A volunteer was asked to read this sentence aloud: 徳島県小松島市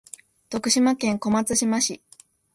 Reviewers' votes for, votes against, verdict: 2, 0, accepted